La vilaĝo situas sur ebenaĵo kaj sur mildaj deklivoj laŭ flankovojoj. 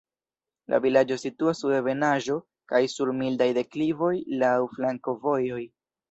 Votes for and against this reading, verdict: 1, 2, rejected